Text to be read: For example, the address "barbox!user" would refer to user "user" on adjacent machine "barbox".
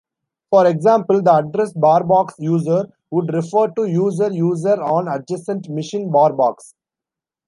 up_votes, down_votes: 0, 2